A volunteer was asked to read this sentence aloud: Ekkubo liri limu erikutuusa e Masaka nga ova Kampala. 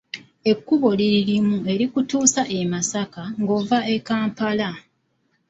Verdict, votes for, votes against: rejected, 1, 2